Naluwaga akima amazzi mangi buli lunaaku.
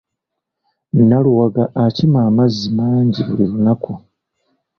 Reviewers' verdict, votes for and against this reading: accepted, 2, 0